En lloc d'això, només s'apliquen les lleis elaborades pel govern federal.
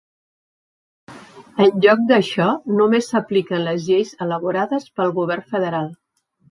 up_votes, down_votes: 3, 0